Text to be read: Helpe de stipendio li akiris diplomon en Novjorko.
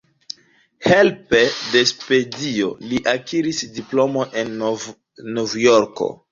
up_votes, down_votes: 1, 2